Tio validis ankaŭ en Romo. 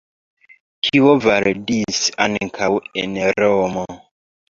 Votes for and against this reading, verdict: 3, 0, accepted